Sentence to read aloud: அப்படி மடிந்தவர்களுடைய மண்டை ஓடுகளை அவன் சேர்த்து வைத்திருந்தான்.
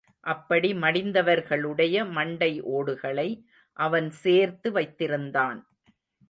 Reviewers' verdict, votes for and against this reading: accepted, 2, 0